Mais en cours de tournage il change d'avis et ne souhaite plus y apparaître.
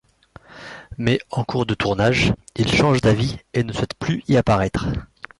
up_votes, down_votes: 2, 0